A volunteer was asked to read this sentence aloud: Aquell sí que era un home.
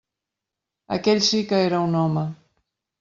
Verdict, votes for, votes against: accepted, 4, 0